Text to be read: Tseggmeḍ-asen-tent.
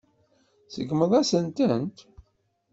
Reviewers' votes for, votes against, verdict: 1, 2, rejected